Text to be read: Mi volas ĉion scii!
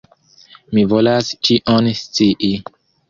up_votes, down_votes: 2, 0